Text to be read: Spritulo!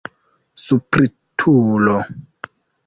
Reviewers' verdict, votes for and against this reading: rejected, 0, 2